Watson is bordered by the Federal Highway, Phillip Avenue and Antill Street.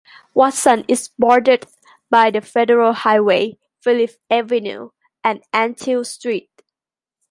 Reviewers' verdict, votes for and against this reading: accepted, 2, 1